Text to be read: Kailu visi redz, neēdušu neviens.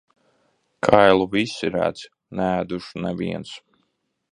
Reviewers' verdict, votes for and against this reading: accepted, 2, 0